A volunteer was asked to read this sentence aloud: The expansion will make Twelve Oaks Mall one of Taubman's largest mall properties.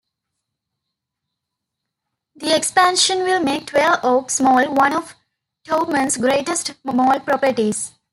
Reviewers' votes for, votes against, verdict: 0, 2, rejected